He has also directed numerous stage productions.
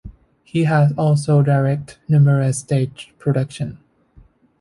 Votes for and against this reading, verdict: 2, 3, rejected